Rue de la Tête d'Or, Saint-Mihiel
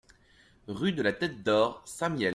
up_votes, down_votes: 2, 0